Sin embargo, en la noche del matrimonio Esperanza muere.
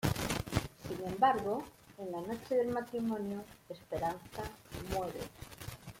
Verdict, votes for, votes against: rejected, 0, 2